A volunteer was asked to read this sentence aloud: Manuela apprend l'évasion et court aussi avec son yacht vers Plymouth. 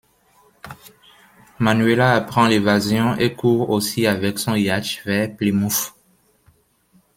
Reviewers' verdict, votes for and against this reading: rejected, 1, 2